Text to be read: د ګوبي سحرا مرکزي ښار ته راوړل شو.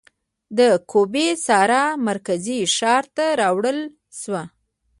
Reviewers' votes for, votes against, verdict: 0, 2, rejected